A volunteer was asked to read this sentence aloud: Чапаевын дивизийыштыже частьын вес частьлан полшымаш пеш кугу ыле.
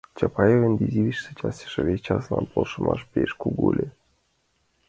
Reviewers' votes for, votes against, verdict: 1, 2, rejected